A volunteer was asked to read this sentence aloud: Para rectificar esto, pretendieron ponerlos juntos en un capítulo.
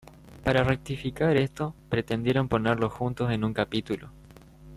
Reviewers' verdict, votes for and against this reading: accepted, 2, 0